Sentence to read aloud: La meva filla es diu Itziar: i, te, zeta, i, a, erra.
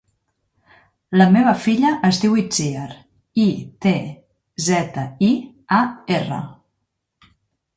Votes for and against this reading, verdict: 2, 0, accepted